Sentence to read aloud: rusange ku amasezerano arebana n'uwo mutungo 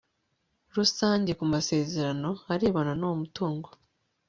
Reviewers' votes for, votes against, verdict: 3, 0, accepted